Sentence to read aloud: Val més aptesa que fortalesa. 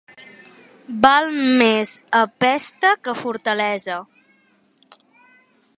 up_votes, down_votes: 0, 2